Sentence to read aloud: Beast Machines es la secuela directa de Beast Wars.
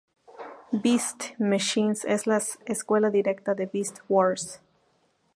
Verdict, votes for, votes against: rejected, 0, 2